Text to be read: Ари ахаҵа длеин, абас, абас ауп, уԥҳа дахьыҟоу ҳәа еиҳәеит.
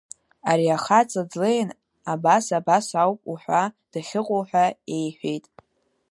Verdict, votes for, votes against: rejected, 1, 3